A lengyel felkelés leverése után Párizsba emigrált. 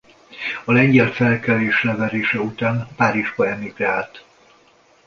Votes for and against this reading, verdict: 2, 0, accepted